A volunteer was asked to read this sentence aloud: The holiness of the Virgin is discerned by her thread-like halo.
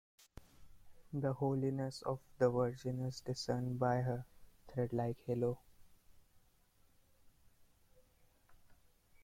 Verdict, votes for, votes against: accepted, 2, 1